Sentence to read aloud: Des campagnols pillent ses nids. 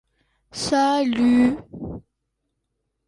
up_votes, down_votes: 0, 2